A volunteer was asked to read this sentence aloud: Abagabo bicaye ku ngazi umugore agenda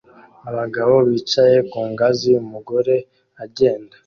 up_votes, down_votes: 2, 0